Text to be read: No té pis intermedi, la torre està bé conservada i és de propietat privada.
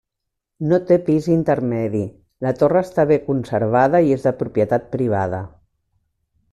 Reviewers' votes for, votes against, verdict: 1, 2, rejected